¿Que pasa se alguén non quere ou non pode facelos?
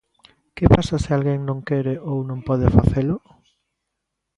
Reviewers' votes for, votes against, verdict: 1, 3, rejected